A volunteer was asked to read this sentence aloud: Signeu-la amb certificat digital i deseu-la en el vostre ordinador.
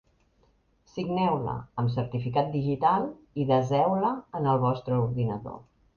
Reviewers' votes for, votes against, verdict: 2, 0, accepted